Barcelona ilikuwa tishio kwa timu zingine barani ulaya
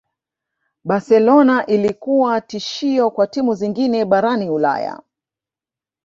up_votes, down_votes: 3, 2